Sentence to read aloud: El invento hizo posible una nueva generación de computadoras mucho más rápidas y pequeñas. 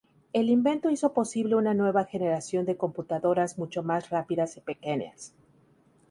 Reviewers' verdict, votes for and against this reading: accepted, 2, 0